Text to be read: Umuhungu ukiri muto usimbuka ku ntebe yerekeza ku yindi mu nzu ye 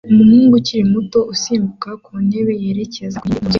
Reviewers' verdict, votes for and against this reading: rejected, 0, 2